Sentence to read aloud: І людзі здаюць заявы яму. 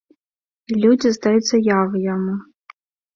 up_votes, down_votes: 2, 0